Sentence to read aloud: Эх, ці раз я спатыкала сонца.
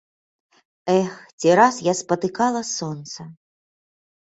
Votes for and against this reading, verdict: 1, 2, rejected